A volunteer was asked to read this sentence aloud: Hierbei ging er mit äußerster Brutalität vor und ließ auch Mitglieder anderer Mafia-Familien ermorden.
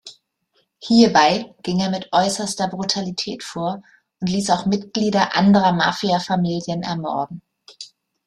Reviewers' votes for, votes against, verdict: 2, 0, accepted